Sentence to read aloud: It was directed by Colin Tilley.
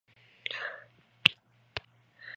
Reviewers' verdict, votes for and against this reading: rejected, 0, 2